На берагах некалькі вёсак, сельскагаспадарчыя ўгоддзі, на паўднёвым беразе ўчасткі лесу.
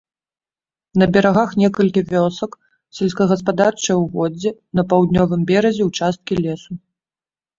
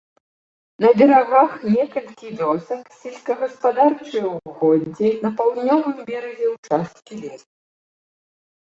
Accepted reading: first